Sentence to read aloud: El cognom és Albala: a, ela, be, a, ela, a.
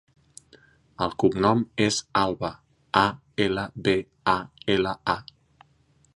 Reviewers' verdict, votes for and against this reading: rejected, 0, 2